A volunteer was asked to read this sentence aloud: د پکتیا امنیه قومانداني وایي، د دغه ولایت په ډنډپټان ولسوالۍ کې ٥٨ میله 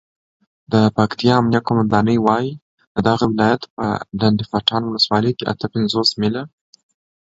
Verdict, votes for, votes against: rejected, 0, 2